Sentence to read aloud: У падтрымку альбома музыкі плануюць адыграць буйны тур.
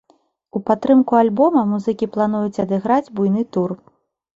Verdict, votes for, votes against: accepted, 2, 0